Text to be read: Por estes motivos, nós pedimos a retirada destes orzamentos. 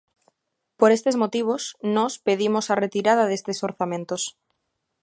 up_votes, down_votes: 2, 0